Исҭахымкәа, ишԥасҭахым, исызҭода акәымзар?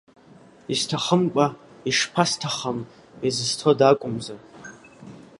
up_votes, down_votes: 2, 1